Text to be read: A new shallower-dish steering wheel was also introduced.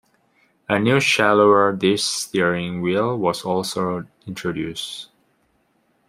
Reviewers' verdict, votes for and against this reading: accepted, 2, 0